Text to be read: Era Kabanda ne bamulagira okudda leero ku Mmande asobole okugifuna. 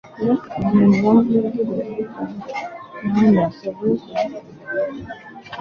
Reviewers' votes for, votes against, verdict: 1, 2, rejected